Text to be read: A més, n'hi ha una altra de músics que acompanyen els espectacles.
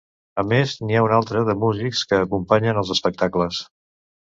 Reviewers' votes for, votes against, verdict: 2, 0, accepted